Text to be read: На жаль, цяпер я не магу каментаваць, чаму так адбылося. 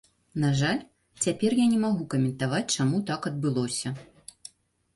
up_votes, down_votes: 2, 0